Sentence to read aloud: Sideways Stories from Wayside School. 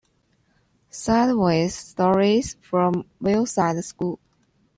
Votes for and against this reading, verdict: 2, 0, accepted